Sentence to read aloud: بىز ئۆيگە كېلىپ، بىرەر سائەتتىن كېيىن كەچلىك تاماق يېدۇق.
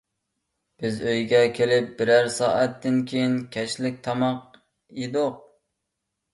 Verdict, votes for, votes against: accepted, 2, 0